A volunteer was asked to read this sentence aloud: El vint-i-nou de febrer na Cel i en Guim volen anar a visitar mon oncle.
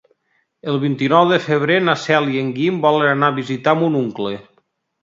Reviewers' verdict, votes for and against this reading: accepted, 2, 0